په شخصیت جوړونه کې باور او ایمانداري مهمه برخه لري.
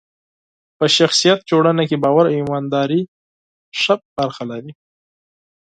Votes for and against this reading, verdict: 0, 4, rejected